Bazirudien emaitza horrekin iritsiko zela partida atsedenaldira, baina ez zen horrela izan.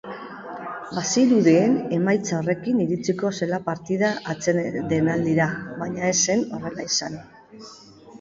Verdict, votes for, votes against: rejected, 0, 2